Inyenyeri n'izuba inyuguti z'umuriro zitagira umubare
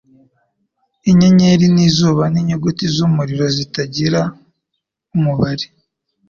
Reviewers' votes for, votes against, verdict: 3, 0, accepted